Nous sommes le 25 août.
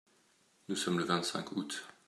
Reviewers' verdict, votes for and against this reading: rejected, 0, 2